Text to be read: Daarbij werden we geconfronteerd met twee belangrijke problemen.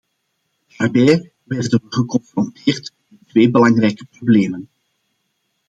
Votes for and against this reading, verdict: 0, 2, rejected